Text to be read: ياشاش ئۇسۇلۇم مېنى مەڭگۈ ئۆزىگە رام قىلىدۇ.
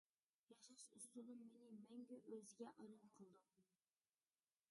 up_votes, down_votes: 0, 2